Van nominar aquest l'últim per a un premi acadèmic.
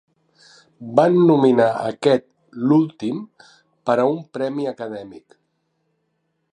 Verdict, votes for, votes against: accepted, 3, 0